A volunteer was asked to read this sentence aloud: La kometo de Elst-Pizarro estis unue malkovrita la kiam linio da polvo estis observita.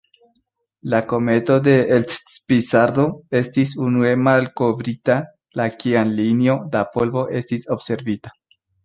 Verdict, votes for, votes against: accepted, 2, 1